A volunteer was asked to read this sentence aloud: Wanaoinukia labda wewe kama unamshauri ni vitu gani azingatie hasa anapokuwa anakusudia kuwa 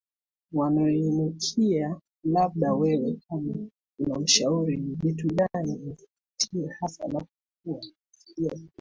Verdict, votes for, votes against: rejected, 0, 2